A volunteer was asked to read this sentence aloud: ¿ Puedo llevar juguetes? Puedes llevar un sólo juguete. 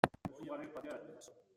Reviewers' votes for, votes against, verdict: 0, 2, rejected